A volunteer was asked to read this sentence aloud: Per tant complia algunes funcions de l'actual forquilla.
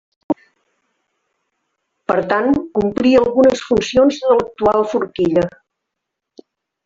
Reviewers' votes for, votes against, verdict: 1, 2, rejected